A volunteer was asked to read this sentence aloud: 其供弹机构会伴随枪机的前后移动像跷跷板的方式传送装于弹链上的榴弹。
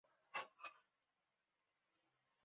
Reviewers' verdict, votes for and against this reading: rejected, 0, 2